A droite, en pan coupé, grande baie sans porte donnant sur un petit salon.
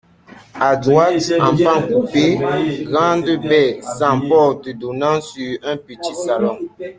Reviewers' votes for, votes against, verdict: 2, 1, accepted